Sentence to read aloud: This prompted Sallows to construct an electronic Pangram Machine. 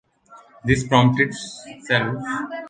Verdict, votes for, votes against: rejected, 0, 2